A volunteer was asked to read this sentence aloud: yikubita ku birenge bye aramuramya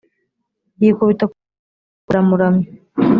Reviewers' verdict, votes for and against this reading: rejected, 1, 2